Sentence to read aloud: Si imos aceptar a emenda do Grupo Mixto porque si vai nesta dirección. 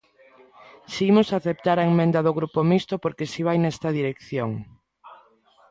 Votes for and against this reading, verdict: 1, 2, rejected